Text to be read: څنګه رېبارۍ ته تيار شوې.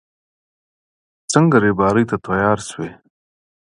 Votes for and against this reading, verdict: 2, 0, accepted